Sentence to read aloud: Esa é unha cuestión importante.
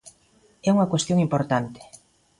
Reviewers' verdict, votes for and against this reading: rejected, 0, 2